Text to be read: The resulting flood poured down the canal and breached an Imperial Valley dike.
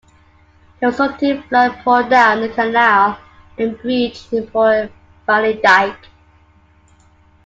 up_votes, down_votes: 2, 1